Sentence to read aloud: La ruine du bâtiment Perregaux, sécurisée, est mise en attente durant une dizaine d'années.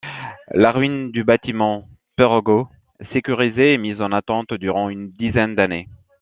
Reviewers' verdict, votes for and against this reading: accepted, 2, 0